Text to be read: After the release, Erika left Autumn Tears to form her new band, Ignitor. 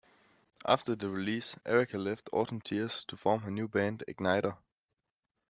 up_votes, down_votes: 2, 0